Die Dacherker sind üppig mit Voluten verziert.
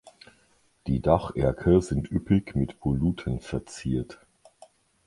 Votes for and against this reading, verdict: 2, 1, accepted